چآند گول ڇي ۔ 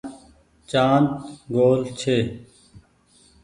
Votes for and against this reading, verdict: 2, 0, accepted